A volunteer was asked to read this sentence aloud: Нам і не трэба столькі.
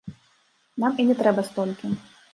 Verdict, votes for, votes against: accepted, 2, 0